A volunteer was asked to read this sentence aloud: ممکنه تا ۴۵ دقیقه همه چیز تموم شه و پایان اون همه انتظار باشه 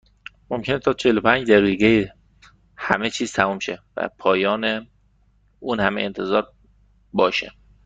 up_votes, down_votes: 0, 2